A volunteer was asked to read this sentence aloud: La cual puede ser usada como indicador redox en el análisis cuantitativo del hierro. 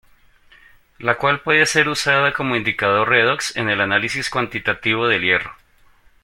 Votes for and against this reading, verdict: 2, 0, accepted